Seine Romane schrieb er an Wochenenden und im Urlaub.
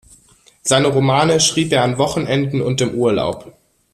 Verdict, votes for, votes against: accepted, 2, 0